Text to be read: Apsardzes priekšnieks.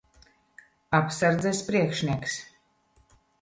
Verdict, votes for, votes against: accepted, 2, 0